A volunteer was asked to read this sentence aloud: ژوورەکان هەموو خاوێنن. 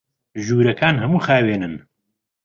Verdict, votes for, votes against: accepted, 2, 0